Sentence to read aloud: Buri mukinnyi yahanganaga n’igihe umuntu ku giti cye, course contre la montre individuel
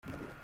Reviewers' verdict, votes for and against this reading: rejected, 0, 2